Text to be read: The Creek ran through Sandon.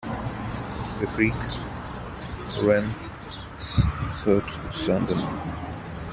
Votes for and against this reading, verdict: 0, 2, rejected